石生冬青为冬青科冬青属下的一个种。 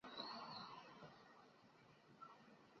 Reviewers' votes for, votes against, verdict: 1, 3, rejected